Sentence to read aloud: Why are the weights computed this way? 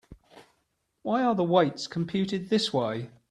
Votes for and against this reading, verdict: 2, 0, accepted